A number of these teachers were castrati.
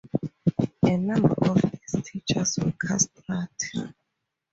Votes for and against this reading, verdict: 0, 2, rejected